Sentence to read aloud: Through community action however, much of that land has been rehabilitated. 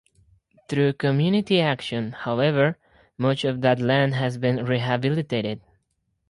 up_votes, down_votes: 4, 0